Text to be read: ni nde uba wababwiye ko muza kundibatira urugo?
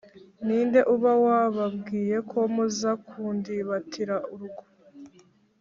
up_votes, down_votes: 3, 0